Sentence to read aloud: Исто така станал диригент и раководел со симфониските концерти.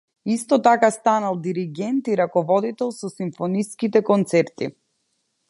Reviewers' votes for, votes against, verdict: 0, 2, rejected